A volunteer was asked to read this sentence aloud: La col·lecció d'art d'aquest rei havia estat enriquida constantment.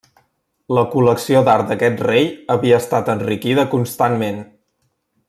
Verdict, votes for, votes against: rejected, 1, 2